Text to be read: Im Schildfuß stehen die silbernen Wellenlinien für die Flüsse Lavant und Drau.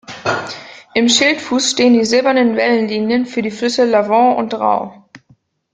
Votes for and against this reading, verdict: 2, 0, accepted